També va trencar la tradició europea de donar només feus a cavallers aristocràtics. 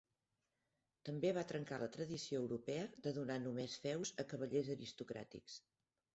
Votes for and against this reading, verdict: 1, 2, rejected